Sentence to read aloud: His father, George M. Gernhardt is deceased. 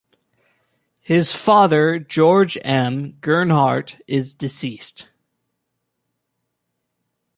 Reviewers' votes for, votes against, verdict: 2, 0, accepted